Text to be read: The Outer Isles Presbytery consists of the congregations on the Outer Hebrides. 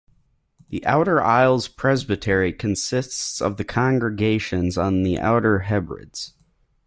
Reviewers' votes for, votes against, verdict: 1, 2, rejected